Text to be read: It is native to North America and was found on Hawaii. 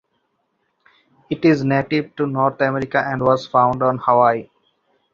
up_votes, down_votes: 2, 0